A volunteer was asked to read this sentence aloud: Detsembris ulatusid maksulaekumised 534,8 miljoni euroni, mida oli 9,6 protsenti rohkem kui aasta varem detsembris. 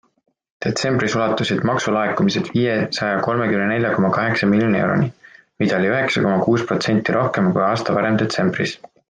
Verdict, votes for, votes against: rejected, 0, 2